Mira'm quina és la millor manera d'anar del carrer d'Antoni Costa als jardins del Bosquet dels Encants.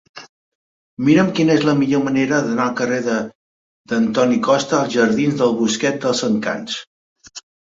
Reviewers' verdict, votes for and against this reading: rejected, 1, 2